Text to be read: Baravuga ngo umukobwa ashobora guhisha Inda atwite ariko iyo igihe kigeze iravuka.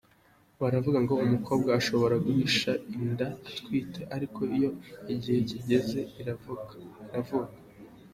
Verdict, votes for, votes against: rejected, 1, 2